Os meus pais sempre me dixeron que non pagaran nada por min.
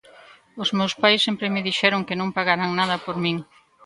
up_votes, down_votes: 2, 0